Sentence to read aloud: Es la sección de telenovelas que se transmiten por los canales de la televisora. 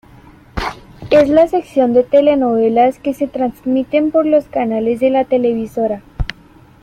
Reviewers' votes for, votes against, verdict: 2, 0, accepted